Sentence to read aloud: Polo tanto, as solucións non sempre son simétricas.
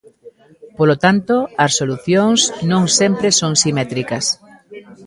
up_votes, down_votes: 2, 0